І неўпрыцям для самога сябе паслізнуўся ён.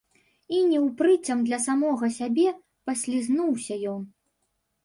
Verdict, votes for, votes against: accepted, 2, 1